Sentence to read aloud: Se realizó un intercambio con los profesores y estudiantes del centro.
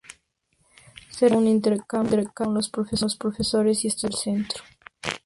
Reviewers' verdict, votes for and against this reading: rejected, 0, 2